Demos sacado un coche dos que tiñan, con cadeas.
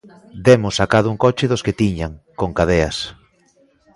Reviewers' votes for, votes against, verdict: 2, 0, accepted